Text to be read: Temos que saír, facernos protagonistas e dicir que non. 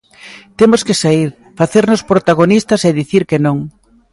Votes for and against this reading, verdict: 2, 0, accepted